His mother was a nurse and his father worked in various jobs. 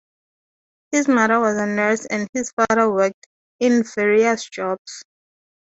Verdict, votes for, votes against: accepted, 2, 0